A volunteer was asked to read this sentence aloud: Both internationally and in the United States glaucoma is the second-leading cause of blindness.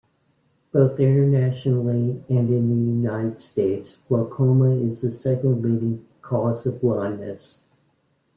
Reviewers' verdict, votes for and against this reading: accepted, 2, 0